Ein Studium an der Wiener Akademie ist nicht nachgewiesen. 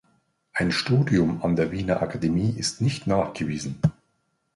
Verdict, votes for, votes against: accepted, 2, 0